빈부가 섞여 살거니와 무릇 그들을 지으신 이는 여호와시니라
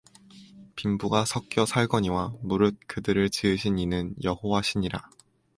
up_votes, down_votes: 4, 0